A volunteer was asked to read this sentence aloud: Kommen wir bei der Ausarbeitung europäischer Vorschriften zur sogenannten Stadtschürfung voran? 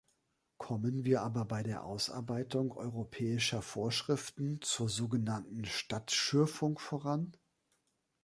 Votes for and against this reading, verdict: 0, 2, rejected